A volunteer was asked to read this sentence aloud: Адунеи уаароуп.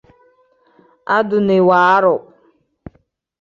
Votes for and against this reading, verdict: 0, 2, rejected